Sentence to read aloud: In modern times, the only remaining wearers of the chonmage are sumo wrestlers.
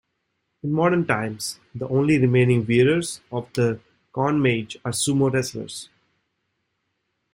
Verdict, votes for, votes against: rejected, 0, 2